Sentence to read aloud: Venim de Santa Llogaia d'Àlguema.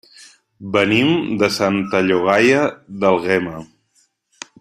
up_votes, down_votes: 0, 2